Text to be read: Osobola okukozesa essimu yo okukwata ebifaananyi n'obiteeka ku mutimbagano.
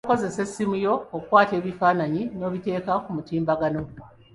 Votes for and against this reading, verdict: 1, 2, rejected